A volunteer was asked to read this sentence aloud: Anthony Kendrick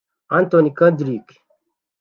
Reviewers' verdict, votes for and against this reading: rejected, 1, 2